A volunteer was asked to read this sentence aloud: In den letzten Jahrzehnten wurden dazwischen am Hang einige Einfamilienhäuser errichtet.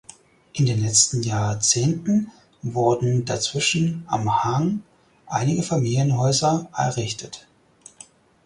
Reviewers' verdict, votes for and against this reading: rejected, 0, 4